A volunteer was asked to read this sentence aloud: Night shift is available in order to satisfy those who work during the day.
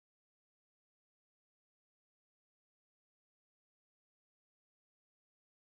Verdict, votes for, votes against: rejected, 0, 2